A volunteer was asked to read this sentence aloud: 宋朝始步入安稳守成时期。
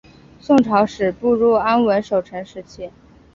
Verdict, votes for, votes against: accepted, 3, 1